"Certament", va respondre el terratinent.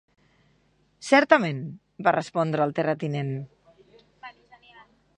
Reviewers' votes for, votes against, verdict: 0, 2, rejected